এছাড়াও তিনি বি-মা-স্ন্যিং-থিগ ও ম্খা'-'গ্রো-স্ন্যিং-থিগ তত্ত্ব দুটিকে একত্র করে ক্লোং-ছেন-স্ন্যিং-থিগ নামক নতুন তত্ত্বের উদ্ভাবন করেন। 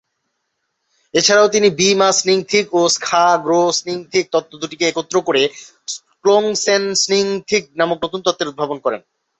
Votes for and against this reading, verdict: 4, 0, accepted